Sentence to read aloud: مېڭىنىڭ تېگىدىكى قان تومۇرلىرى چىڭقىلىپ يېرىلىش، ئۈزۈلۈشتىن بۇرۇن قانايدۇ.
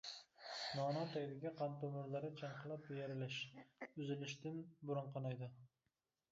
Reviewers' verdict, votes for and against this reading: rejected, 1, 2